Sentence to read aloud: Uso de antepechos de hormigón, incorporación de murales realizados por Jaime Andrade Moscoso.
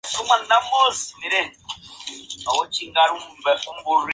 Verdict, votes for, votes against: rejected, 0, 4